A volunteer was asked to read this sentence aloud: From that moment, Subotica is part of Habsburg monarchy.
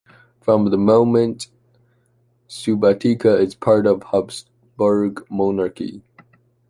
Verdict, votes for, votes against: rejected, 0, 2